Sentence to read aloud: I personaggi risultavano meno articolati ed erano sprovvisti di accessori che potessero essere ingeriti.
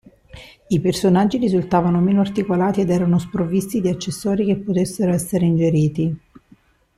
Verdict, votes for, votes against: accepted, 2, 0